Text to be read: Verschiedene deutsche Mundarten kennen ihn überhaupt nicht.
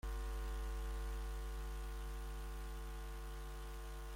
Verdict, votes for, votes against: rejected, 0, 2